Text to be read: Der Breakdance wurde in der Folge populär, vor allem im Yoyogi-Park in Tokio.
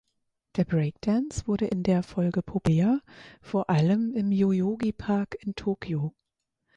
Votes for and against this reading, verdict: 2, 4, rejected